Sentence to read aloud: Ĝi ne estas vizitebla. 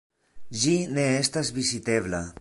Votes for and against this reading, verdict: 2, 1, accepted